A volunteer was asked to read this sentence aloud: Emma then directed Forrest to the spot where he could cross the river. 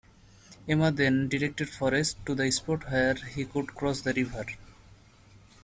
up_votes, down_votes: 2, 0